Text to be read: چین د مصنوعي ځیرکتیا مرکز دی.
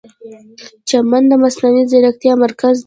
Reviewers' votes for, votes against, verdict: 2, 0, accepted